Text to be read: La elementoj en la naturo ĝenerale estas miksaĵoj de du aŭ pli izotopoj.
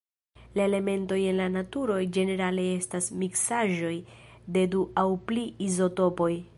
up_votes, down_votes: 1, 2